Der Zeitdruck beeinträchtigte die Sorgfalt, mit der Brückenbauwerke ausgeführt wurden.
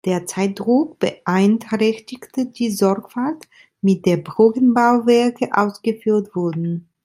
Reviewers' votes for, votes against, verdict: 1, 2, rejected